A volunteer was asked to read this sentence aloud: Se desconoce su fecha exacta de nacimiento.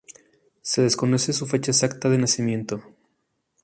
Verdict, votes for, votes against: accepted, 2, 0